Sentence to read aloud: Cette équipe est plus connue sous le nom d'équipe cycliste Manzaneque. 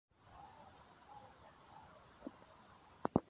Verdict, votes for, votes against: rejected, 0, 2